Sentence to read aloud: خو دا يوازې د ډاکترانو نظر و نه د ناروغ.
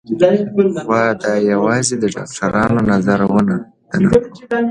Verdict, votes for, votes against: accepted, 2, 0